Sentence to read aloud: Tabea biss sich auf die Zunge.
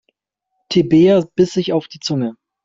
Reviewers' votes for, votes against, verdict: 0, 2, rejected